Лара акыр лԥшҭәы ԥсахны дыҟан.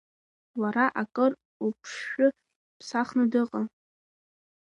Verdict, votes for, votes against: accepted, 2, 0